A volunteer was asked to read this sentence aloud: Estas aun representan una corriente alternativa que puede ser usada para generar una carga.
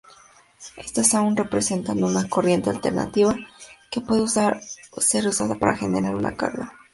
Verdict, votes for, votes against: rejected, 0, 2